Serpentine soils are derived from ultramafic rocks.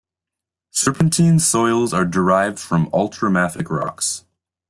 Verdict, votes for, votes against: accepted, 2, 0